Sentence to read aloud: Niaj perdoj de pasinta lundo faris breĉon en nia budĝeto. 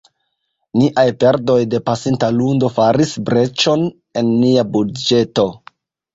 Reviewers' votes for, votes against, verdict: 0, 2, rejected